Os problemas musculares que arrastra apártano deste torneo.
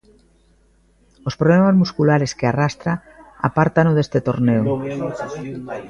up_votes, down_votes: 0, 2